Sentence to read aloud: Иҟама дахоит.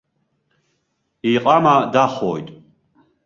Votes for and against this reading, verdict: 1, 2, rejected